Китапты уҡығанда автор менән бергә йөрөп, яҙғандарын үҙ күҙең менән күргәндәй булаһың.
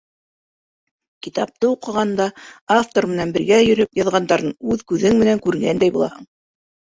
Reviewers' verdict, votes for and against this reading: accepted, 2, 1